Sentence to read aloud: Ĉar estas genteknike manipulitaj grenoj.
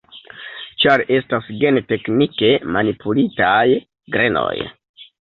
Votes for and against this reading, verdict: 2, 1, accepted